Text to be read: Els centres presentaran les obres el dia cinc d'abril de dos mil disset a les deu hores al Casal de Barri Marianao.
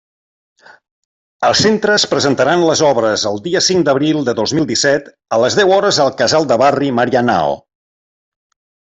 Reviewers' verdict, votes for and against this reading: accepted, 2, 0